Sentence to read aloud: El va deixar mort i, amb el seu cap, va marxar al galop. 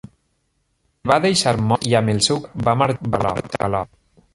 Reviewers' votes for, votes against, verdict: 0, 2, rejected